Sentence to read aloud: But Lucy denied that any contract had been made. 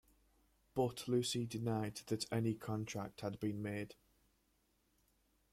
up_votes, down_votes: 1, 2